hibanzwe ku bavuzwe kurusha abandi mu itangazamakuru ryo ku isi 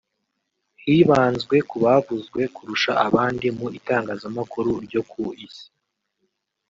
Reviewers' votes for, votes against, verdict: 3, 0, accepted